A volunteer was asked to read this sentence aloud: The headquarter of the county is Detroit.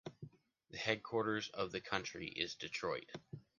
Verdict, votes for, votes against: rejected, 1, 2